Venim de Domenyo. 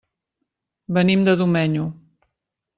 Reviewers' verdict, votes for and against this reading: accepted, 3, 0